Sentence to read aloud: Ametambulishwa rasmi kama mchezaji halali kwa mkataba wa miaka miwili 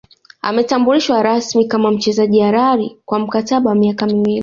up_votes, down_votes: 1, 2